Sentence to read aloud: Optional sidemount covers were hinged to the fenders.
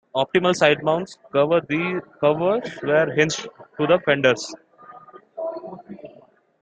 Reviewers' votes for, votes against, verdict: 0, 2, rejected